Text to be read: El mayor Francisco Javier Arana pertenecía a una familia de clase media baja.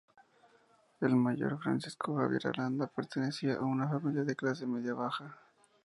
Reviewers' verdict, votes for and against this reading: accepted, 2, 0